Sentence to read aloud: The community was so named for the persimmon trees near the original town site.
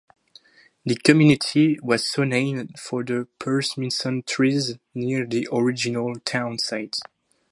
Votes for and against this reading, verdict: 2, 2, rejected